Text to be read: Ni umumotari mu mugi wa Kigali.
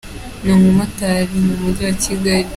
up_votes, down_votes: 2, 0